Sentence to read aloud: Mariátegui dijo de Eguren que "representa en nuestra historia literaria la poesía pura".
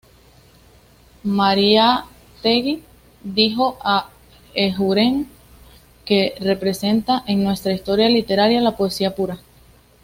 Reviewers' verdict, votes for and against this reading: accepted, 2, 0